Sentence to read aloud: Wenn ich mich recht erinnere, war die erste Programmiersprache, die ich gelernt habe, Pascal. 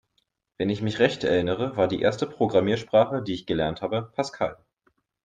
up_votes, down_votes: 2, 0